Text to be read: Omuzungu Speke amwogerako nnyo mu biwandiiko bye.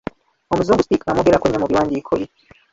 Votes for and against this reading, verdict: 0, 4, rejected